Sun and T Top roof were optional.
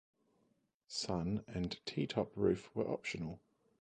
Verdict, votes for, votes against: accepted, 2, 0